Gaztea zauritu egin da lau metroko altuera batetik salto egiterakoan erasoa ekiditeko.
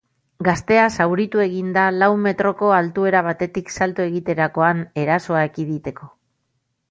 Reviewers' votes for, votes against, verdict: 2, 0, accepted